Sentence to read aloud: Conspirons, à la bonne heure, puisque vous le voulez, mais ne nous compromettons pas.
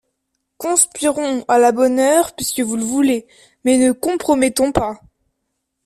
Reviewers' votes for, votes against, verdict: 0, 2, rejected